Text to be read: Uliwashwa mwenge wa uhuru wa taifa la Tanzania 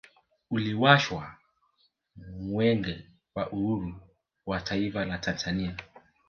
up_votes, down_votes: 2, 0